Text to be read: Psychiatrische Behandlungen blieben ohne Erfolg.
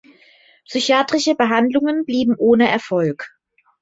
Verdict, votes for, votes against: accepted, 2, 0